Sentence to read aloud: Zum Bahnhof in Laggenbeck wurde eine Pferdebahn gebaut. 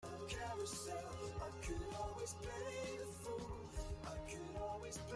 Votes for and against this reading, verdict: 0, 2, rejected